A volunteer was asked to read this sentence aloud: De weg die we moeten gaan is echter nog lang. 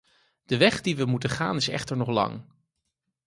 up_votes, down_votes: 4, 0